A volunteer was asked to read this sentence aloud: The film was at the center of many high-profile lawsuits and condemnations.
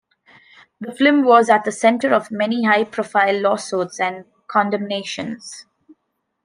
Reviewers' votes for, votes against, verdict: 0, 2, rejected